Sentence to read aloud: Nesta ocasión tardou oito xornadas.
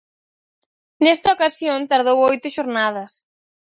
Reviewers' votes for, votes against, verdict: 4, 0, accepted